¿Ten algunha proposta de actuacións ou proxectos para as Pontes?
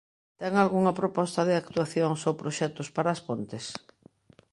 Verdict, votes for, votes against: accepted, 2, 0